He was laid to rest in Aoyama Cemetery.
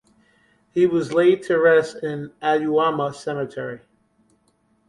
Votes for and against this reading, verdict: 2, 0, accepted